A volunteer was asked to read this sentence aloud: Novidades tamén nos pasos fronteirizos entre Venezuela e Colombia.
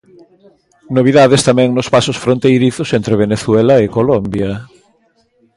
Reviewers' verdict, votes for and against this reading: accepted, 2, 0